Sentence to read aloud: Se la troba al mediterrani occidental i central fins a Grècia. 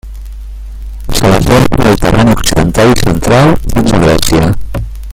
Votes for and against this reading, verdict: 1, 2, rejected